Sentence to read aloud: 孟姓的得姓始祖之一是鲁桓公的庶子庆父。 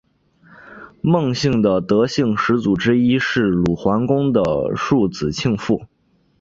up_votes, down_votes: 4, 0